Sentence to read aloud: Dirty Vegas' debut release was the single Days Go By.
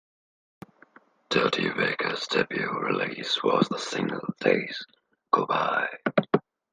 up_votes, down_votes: 2, 0